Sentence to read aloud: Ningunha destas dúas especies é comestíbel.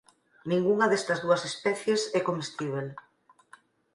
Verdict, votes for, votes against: accepted, 4, 0